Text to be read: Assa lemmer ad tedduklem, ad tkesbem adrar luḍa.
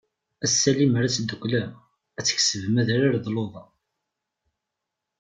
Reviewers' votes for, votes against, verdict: 1, 2, rejected